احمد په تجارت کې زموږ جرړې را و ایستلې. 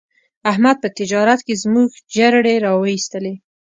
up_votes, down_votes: 1, 2